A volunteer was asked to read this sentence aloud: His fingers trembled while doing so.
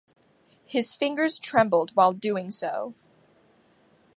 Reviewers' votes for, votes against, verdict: 2, 0, accepted